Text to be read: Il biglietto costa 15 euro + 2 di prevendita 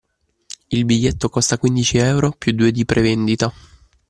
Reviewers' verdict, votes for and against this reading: rejected, 0, 2